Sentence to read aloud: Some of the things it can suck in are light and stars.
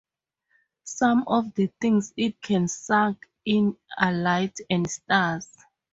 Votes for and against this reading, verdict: 2, 2, rejected